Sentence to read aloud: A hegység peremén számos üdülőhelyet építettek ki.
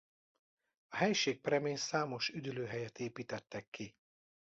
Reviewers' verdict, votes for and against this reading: rejected, 0, 2